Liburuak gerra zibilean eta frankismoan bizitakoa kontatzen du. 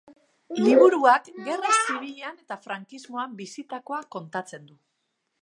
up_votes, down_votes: 0, 3